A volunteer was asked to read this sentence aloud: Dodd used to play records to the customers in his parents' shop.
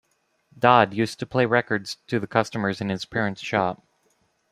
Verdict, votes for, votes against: accepted, 2, 0